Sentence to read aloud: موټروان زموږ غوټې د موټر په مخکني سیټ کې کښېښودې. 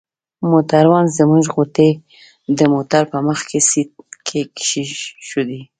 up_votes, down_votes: 0, 2